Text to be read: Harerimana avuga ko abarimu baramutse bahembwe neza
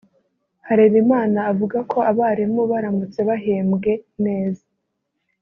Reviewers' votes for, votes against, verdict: 2, 0, accepted